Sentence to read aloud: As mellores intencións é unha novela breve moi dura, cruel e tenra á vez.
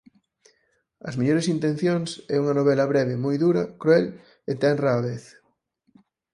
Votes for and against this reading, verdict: 4, 0, accepted